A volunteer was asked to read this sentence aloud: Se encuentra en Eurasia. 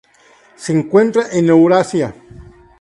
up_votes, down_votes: 2, 0